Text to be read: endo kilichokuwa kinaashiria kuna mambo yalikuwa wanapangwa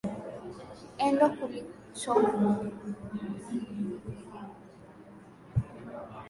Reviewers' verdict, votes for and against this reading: rejected, 0, 2